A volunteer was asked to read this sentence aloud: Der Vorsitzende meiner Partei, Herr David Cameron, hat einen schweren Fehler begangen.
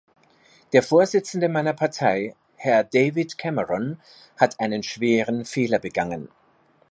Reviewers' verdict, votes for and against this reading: accepted, 2, 0